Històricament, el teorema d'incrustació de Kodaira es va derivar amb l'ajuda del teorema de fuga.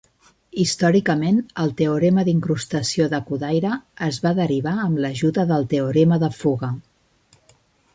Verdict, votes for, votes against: accepted, 2, 0